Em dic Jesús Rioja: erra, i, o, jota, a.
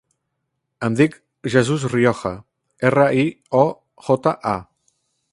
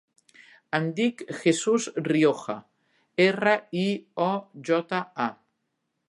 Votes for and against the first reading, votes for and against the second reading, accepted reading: 0, 2, 3, 1, second